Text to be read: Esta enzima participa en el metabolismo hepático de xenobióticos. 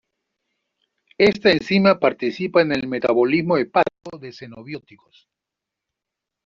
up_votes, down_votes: 1, 2